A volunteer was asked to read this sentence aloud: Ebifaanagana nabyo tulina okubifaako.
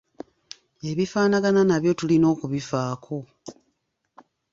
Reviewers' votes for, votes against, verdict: 2, 0, accepted